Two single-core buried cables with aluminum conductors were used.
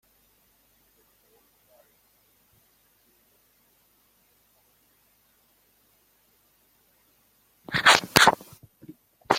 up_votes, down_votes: 0, 2